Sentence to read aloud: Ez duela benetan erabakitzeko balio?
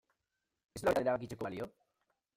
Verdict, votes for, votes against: rejected, 0, 2